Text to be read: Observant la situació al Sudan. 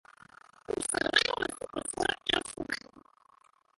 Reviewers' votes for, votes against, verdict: 0, 2, rejected